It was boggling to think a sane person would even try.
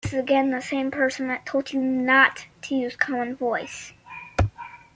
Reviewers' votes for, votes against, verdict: 0, 2, rejected